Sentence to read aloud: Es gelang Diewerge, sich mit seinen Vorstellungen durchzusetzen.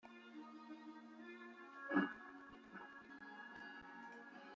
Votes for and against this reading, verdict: 0, 2, rejected